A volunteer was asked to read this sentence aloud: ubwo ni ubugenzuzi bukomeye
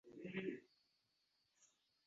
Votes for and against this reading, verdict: 0, 2, rejected